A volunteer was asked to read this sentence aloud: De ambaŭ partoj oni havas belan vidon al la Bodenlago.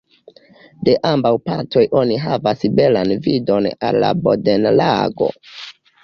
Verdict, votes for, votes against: rejected, 1, 2